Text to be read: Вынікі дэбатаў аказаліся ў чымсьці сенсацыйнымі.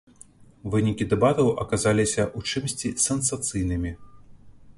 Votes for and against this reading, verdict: 2, 0, accepted